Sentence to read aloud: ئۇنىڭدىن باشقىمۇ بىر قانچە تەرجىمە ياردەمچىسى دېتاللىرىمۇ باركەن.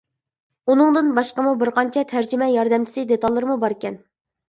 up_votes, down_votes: 2, 0